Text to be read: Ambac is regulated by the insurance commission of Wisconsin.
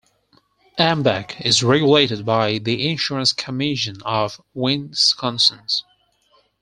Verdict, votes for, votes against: rejected, 2, 4